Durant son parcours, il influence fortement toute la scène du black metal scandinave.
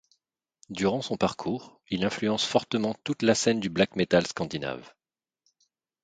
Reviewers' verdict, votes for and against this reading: accepted, 2, 0